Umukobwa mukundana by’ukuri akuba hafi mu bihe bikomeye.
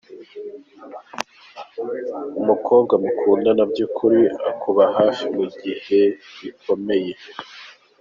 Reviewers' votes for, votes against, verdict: 0, 2, rejected